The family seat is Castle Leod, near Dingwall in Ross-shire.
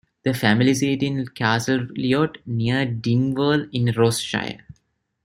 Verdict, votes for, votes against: accepted, 2, 0